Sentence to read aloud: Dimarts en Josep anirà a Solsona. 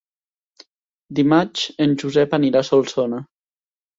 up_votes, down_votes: 1, 2